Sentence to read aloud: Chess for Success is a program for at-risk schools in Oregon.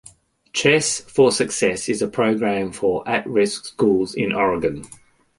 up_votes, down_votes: 2, 0